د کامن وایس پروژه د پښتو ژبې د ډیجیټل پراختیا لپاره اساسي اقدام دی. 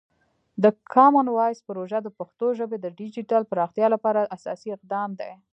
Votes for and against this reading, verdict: 0, 2, rejected